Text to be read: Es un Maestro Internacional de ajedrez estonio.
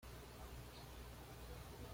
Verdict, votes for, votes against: rejected, 1, 2